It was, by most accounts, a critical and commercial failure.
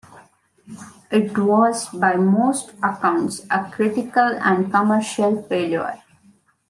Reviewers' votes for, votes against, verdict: 2, 1, accepted